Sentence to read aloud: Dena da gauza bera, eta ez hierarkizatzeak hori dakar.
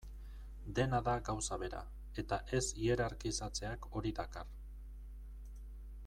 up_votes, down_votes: 2, 0